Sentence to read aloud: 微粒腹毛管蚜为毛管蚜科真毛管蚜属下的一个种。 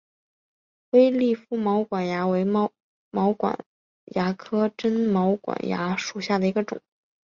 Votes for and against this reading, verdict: 1, 3, rejected